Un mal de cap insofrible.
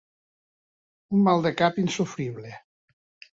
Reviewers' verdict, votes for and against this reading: accepted, 2, 0